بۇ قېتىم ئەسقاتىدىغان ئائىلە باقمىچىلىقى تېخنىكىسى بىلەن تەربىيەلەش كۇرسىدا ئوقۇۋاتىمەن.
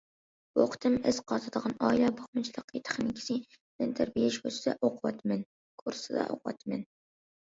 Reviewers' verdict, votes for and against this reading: rejected, 0, 2